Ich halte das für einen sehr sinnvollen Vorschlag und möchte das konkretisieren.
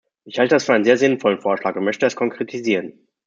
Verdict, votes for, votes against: rejected, 1, 2